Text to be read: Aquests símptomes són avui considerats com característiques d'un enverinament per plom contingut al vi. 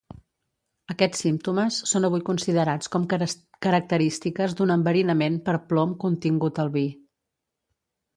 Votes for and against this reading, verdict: 0, 2, rejected